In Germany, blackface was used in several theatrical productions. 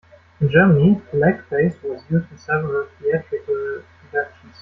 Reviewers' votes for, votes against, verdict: 0, 2, rejected